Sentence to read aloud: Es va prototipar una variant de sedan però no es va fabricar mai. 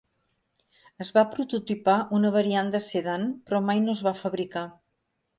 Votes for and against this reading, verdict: 1, 3, rejected